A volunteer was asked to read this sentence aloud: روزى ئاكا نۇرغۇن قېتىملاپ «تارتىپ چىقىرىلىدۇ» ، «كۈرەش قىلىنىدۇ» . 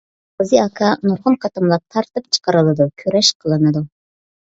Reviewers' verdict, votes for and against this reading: rejected, 0, 2